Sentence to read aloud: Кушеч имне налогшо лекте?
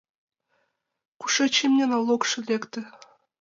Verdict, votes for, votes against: accepted, 2, 0